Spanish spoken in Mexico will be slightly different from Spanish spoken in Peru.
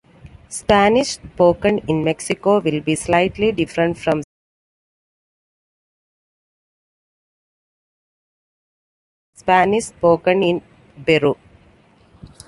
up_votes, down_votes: 2, 0